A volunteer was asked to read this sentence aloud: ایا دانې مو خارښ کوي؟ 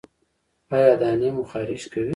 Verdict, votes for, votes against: rejected, 1, 2